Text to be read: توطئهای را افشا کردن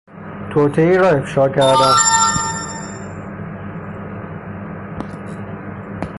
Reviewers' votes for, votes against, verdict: 0, 6, rejected